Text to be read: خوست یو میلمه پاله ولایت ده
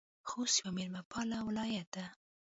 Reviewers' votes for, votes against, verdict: 2, 0, accepted